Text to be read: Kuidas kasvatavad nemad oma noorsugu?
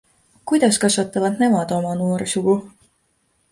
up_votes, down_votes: 2, 0